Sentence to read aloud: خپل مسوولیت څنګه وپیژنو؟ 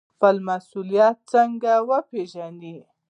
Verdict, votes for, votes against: rejected, 1, 2